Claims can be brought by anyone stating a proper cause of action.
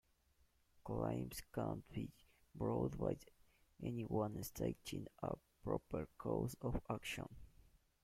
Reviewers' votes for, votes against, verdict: 1, 2, rejected